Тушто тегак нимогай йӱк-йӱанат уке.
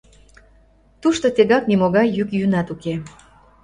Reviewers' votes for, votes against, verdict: 1, 2, rejected